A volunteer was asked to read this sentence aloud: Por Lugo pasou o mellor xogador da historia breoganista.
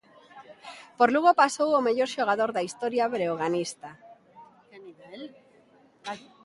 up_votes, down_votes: 2, 0